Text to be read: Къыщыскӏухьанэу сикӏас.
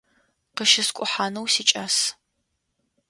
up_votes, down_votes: 2, 0